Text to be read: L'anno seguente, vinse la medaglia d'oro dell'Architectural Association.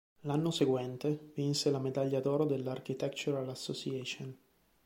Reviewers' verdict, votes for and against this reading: accepted, 3, 0